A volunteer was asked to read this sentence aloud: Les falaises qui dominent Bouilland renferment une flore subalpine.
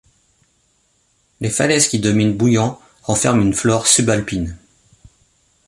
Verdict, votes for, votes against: accepted, 2, 0